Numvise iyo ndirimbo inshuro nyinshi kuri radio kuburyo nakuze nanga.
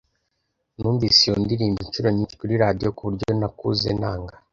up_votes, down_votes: 2, 0